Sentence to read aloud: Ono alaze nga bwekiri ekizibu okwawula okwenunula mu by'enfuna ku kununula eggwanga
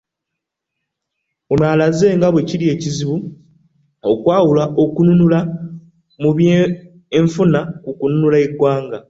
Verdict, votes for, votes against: accepted, 2, 0